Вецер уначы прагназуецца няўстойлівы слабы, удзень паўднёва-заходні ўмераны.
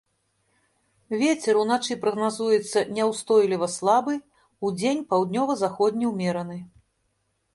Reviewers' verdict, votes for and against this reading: accepted, 2, 0